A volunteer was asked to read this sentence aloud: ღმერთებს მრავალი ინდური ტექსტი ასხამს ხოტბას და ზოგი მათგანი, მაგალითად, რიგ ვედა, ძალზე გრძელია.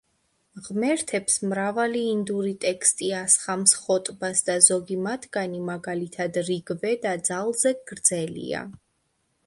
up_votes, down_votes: 2, 0